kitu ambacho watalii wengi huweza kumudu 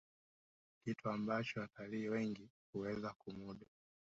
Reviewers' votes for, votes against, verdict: 0, 2, rejected